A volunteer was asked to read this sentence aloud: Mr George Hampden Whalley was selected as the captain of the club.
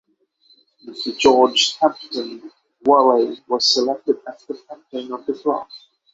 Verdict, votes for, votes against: accepted, 3, 0